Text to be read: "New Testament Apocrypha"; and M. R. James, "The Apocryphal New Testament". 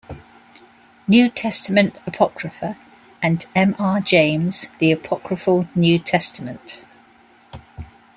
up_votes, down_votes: 2, 0